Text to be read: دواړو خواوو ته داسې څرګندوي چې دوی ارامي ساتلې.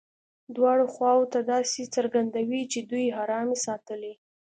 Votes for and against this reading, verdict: 2, 0, accepted